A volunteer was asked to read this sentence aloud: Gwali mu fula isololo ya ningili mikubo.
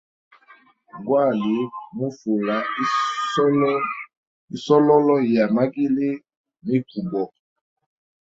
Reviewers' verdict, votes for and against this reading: rejected, 1, 2